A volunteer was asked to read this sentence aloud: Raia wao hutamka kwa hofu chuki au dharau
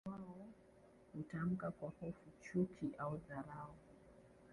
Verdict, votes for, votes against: rejected, 1, 2